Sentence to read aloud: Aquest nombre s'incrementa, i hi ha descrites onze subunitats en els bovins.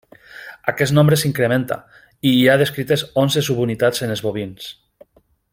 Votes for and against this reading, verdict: 2, 0, accepted